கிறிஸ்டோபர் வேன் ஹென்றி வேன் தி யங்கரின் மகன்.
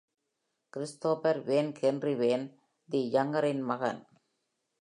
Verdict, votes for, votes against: accepted, 2, 0